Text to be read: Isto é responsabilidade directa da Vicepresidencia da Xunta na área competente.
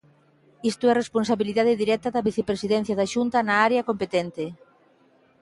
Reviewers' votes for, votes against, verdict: 2, 0, accepted